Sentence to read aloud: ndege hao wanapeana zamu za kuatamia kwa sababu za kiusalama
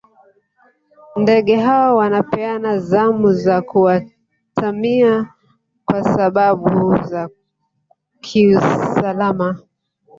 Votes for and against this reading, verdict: 0, 2, rejected